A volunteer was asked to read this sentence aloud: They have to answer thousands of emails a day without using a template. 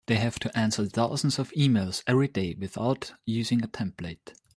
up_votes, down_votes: 1, 2